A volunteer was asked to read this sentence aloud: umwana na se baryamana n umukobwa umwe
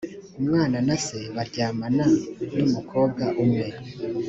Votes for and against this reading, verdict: 3, 0, accepted